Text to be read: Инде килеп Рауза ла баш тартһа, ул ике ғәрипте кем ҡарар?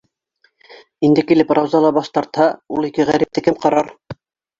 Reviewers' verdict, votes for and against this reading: rejected, 2, 3